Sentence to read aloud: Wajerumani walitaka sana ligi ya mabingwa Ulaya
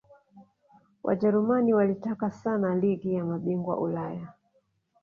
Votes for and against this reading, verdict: 3, 1, accepted